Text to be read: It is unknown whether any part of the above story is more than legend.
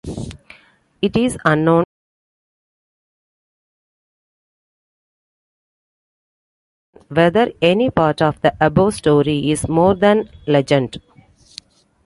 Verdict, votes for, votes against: rejected, 0, 3